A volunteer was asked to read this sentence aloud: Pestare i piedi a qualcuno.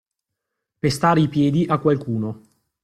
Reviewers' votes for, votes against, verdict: 2, 0, accepted